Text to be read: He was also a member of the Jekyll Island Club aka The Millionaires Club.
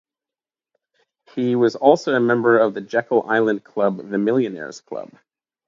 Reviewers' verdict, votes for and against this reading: rejected, 0, 2